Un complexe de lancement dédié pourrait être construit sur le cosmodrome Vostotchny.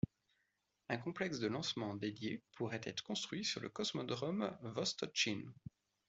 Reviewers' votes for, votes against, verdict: 2, 1, accepted